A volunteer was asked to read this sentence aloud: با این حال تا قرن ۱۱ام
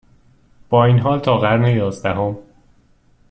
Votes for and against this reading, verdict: 0, 2, rejected